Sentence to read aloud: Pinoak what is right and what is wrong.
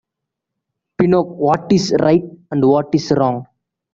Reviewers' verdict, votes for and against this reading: accepted, 2, 0